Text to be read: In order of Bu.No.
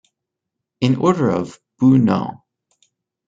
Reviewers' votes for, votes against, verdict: 0, 2, rejected